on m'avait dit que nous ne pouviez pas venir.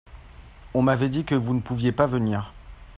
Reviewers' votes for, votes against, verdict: 2, 0, accepted